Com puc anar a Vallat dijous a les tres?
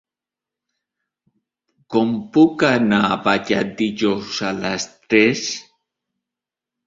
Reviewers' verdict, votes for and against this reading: rejected, 1, 2